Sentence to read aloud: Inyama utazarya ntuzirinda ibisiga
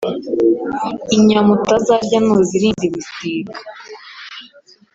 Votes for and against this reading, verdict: 3, 0, accepted